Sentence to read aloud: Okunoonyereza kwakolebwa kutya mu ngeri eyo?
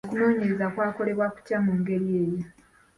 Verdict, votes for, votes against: accepted, 3, 0